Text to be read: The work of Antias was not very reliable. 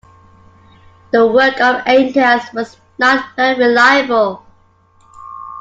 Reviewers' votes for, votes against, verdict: 2, 1, accepted